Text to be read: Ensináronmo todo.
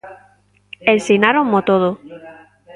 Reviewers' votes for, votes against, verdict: 1, 2, rejected